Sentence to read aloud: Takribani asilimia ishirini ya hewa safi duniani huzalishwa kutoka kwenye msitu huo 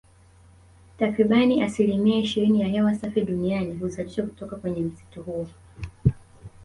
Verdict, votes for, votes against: accepted, 2, 0